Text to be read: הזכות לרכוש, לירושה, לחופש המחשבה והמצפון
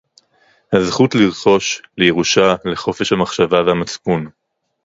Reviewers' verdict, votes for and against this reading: rejected, 0, 2